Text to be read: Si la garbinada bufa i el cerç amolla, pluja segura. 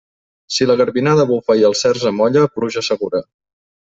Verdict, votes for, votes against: accepted, 3, 0